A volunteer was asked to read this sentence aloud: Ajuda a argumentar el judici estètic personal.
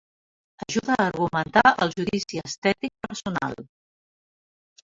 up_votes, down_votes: 0, 2